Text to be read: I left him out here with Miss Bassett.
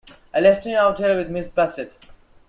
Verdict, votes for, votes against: accepted, 2, 1